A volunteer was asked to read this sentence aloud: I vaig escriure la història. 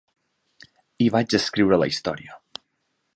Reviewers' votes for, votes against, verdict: 3, 0, accepted